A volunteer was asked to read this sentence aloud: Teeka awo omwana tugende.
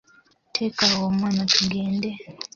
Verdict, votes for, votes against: accepted, 2, 1